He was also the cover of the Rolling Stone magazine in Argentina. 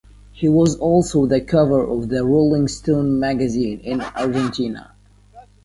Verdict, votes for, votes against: accepted, 2, 0